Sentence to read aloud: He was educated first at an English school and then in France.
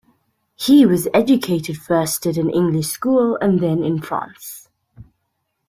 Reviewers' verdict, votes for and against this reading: accepted, 2, 0